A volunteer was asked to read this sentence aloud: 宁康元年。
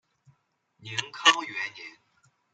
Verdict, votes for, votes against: rejected, 0, 2